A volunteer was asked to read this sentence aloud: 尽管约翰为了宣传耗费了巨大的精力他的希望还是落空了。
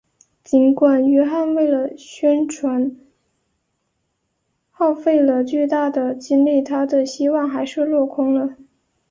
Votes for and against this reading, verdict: 5, 0, accepted